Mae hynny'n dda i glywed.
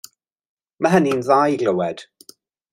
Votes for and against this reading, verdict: 2, 0, accepted